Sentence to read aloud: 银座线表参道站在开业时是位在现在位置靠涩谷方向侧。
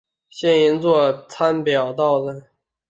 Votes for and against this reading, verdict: 0, 4, rejected